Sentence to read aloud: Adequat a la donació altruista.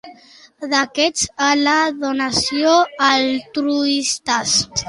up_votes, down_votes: 1, 2